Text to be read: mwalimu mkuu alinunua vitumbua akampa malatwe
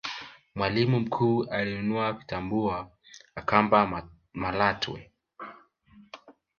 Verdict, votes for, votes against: rejected, 1, 2